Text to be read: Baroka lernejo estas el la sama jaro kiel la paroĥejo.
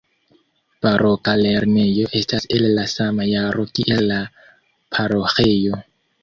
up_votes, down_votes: 1, 2